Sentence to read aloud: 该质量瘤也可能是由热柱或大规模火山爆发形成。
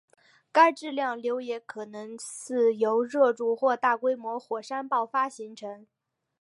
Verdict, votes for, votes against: accepted, 3, 2